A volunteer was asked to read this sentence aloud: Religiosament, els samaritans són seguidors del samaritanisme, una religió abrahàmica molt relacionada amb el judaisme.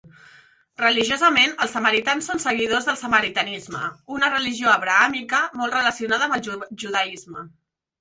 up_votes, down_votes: 2, 3